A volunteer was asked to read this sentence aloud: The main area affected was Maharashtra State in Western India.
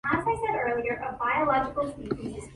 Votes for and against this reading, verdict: 0, 2, rejected